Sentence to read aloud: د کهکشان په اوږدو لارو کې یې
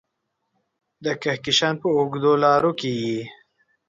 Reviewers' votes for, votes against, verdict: 2, 0, accepted